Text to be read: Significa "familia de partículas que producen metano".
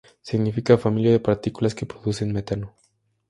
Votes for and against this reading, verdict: 2, 0, accepted